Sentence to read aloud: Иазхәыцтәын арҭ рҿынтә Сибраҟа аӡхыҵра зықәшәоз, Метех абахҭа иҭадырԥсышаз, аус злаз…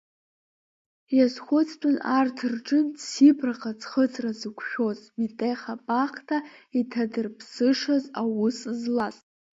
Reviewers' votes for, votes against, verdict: 1, 2, rejected